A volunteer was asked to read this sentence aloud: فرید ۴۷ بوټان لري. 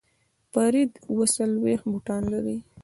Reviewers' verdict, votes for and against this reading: rejected, 0, 2